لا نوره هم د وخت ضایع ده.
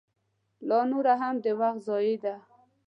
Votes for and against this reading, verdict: 2, 0, accepted